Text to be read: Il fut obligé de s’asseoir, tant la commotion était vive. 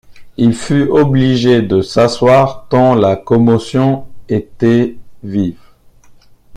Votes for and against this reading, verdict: 1, 2, rejected